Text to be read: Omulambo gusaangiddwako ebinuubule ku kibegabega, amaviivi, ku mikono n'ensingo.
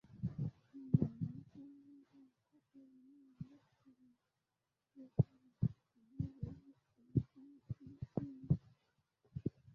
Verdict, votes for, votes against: rejected, 0, 2